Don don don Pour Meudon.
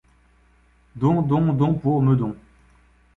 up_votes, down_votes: 2, 0